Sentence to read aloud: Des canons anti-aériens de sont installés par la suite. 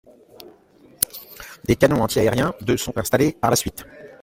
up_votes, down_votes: 2, 0